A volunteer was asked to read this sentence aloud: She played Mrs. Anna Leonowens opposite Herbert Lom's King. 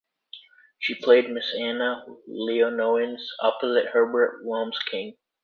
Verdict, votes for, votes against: rejected, 0, 2